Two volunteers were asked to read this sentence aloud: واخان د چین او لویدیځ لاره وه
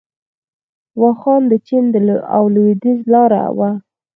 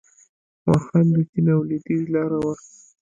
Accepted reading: second